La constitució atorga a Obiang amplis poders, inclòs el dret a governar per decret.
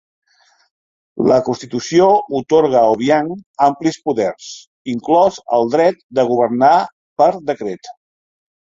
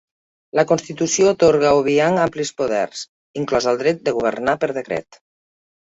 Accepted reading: first